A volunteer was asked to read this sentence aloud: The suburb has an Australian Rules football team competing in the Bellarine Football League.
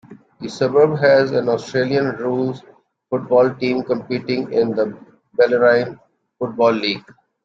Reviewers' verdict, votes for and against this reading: rejected, 0, 2